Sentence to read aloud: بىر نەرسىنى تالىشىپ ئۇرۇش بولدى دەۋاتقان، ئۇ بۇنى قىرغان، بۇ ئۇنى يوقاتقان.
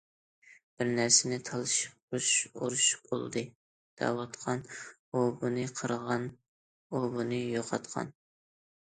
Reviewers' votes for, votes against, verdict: 0, 2, rejected